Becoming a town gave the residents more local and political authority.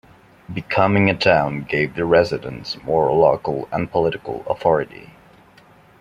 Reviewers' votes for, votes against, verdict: 2, 0, accepted